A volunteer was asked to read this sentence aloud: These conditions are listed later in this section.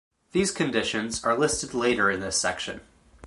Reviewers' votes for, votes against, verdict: 3, 0, accepted